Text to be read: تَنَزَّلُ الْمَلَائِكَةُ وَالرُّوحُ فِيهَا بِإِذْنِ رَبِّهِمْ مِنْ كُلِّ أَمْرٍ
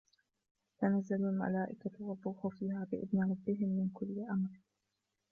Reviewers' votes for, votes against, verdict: 1, 2, rejected